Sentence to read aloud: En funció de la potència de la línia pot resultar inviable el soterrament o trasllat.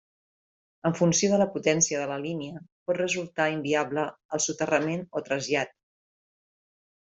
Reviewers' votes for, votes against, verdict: 3, 0, accepted